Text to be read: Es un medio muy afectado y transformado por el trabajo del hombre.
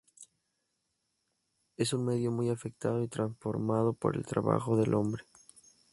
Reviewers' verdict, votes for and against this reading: accepted, 2, 0